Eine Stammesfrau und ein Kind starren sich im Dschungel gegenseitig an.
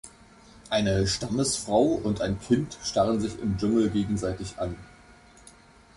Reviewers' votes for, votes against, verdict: 2, 0, accepted